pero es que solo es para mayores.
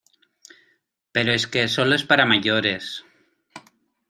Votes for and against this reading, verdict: 2, 0, accepted